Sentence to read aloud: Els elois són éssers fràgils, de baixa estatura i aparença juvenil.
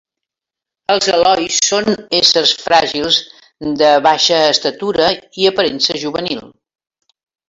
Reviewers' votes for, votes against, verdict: 2, 1, accepted